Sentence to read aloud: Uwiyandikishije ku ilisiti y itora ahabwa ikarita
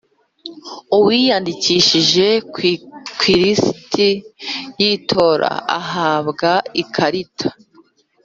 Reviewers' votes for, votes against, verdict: 2, 5, rejected